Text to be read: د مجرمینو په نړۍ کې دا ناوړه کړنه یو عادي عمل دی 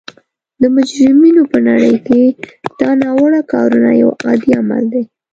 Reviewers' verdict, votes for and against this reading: rejected, 0, 2